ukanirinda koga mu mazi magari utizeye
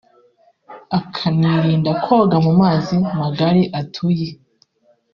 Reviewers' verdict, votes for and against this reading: rejected, 0, 2